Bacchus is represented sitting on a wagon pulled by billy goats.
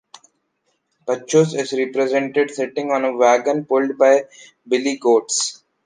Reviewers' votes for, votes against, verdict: 2, 1, accepted